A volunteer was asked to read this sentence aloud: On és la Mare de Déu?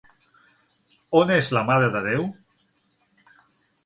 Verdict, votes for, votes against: accepted, 6, 0